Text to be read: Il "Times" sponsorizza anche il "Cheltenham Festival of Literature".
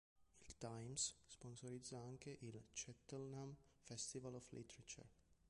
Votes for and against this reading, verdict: 1, 2, rejected